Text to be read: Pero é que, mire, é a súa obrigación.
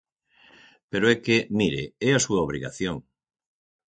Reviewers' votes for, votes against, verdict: 6, 0, accepted